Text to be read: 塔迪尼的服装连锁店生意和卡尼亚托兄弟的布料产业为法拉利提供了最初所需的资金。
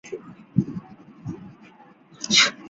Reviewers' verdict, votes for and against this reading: rejected, 2, 3